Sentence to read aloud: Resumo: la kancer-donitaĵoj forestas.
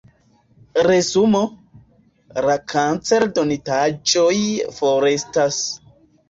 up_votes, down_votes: 2, 0